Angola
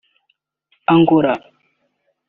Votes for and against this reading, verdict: 0, 2, rejected